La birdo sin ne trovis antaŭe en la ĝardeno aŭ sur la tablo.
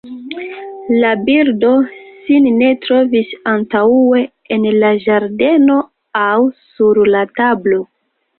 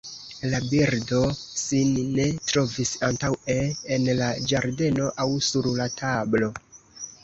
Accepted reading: first